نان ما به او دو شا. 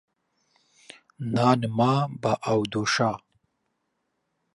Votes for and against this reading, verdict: 2, 0, accepted